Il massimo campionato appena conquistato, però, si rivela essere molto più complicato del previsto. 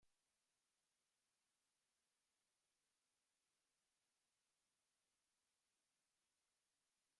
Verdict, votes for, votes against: rejected, 0, 2